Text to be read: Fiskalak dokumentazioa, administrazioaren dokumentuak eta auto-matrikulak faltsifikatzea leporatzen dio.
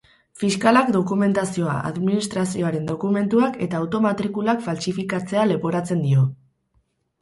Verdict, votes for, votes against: accepted, 4, 0